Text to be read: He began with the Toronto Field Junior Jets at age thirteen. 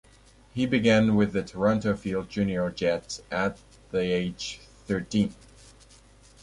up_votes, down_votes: 1, 2